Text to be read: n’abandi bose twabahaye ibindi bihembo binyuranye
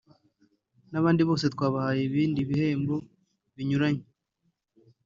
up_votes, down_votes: 2, 0